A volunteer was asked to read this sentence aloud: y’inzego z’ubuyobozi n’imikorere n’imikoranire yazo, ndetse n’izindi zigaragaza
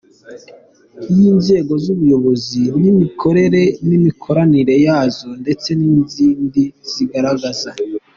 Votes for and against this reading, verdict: 3, 0, accepted